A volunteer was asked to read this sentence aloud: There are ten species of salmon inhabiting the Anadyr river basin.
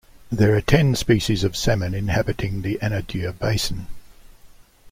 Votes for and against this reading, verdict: 0, 2, rejected